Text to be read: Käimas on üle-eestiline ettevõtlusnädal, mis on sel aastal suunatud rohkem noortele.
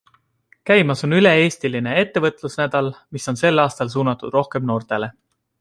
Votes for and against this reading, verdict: 2, 0, accepted